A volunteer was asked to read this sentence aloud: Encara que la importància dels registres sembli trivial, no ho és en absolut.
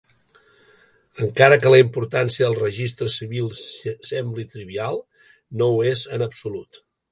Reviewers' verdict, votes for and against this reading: rejected, 0, 2